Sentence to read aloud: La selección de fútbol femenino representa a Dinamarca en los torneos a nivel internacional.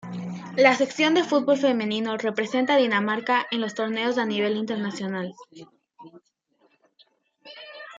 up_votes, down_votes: 0, 2